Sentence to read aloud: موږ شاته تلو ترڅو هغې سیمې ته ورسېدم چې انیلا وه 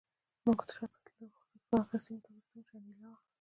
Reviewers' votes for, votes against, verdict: 1, 2, rejected